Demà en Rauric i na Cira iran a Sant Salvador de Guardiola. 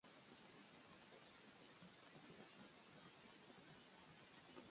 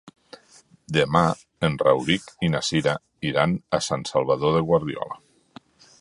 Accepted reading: second